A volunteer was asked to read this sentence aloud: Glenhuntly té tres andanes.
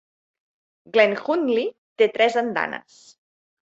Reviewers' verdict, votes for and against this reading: accepted, 2, 0